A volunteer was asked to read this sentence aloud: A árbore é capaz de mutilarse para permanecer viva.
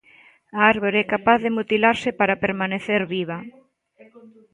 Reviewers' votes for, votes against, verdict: 2, 1, accepted